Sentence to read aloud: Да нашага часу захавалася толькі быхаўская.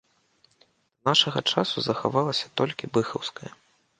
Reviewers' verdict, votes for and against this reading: rejected, 0, 2